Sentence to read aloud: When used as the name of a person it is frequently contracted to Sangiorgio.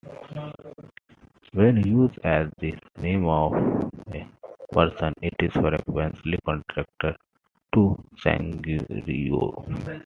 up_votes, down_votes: 1, 2